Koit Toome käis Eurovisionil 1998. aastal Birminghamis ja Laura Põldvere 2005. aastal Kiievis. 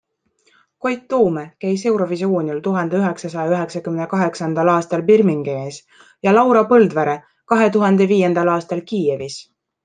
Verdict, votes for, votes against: rejected, 0, 2